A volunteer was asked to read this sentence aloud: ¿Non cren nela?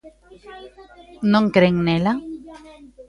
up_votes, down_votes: 0, 2